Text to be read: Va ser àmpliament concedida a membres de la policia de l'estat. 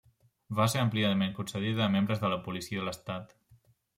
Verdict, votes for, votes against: accepted, 2, 0